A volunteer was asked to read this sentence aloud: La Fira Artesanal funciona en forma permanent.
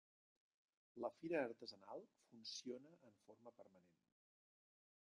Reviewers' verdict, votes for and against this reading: rejected, 1, 2